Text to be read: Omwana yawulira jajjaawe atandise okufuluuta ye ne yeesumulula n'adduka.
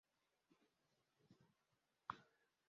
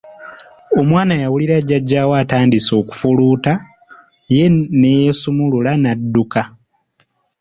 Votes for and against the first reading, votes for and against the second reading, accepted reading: 0, 2, 2, 0, second